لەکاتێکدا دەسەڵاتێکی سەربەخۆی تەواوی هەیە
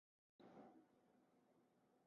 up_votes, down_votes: 0, 2